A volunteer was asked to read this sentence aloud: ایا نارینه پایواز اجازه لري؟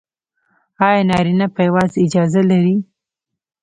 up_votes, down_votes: 0, 2